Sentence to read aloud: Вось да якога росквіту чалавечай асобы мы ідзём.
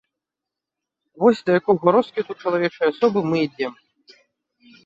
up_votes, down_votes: 1, 2